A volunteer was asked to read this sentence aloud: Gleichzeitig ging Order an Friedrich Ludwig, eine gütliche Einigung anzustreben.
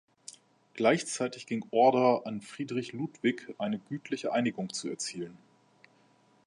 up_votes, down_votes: 0, 2